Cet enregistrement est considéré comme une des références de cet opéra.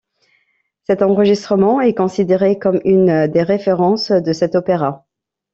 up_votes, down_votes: 2, 0